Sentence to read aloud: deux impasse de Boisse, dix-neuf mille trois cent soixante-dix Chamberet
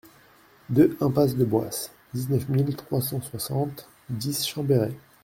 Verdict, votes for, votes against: accepted, 2, 0